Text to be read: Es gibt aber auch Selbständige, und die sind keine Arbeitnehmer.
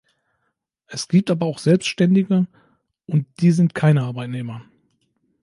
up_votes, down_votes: 2, 0